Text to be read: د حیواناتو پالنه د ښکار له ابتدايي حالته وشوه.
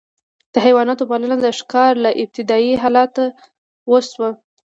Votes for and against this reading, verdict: 2, 1, accepted